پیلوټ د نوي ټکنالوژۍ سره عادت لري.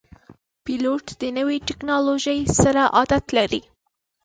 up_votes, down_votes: 3, 0